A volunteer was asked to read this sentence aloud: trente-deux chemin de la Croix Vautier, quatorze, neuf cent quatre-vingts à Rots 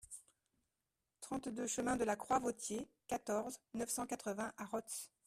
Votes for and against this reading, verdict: 1, 2, rejected